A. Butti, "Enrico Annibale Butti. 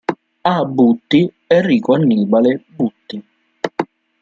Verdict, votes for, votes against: accepted, 2, 0